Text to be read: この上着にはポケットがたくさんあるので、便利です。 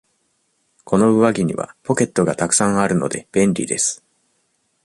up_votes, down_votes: 2, 0